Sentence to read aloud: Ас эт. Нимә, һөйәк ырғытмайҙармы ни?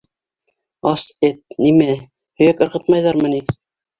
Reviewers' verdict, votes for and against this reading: accepted, 2, 0